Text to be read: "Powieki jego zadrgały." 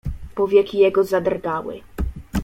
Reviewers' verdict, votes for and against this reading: accepted, 2, 0